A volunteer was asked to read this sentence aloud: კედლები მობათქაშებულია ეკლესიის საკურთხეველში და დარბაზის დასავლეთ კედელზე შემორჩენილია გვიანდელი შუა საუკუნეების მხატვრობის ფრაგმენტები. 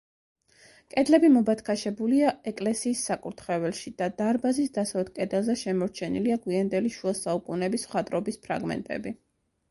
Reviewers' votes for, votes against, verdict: 2, 0, accepted